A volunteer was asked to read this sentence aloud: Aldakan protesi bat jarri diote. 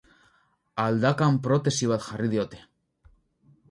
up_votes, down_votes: 2, 0